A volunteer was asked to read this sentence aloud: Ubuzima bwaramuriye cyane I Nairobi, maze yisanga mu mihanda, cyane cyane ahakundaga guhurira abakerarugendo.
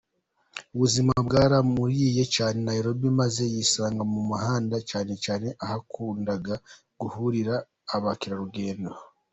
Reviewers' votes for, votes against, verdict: 2, 0, accepted